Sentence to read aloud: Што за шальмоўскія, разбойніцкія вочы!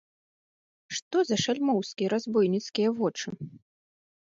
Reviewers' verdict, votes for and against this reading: accepted, 2, 0